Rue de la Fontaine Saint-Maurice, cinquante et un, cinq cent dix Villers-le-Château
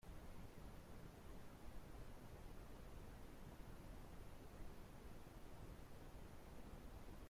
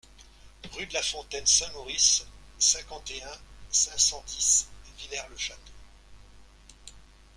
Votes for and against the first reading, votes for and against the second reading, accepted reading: 0, 2, 2, 0, second